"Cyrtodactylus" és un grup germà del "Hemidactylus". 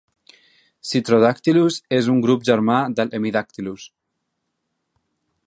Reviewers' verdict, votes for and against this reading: rejected, 1, 2